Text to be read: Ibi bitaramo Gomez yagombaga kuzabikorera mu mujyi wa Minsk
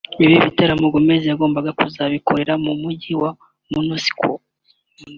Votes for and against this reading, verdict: 2, 0, accepted